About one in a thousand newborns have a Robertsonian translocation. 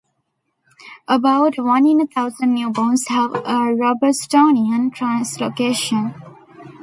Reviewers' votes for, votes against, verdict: 1, 2, rejected